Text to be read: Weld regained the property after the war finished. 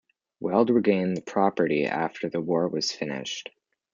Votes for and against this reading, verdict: 0, 2, rejected